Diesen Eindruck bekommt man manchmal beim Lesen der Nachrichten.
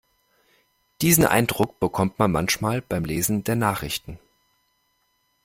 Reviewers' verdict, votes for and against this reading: rejected, 0, 2